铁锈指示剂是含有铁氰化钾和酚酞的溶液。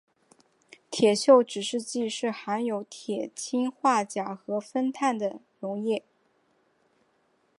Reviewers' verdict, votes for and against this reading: accepted, 5, 0